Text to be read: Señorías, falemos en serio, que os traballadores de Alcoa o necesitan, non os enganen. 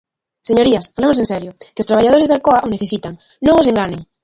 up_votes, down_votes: 0, 2